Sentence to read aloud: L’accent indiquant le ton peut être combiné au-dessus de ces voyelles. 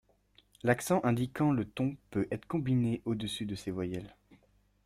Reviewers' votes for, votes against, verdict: 2, 0, accepted